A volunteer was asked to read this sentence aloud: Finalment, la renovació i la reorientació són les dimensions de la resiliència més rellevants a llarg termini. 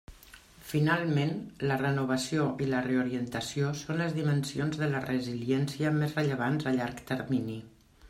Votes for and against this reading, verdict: 3, 0, accepted